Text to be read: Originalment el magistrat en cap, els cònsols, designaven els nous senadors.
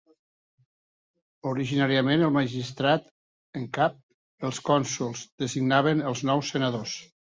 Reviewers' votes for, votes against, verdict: 0, 2, rejected